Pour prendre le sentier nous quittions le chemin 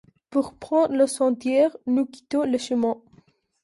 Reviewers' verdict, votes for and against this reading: rejected, 0, 2